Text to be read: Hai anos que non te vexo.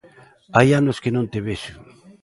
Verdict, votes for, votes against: accepted, 3, 0